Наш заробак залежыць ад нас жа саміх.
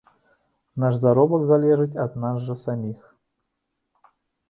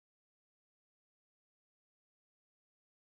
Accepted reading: first